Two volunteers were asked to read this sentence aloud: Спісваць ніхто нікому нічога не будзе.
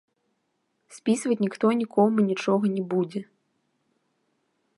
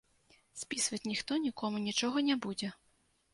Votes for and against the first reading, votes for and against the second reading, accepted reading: 0, 2, 2, 0, second